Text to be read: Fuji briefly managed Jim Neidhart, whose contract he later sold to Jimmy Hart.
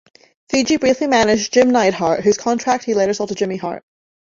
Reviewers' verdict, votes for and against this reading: rejected, 1, 2